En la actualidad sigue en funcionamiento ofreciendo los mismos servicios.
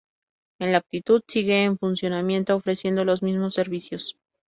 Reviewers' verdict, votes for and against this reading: rejected, 0, 2